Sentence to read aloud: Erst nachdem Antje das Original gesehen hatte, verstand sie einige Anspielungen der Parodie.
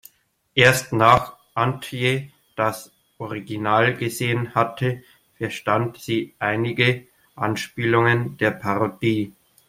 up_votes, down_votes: 1, 2